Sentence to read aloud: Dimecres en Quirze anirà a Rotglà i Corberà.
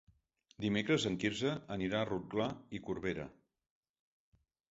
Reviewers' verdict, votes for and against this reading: rejected, 0, 2